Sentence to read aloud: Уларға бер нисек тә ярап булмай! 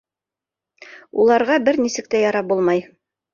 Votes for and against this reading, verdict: 2, 0, accepted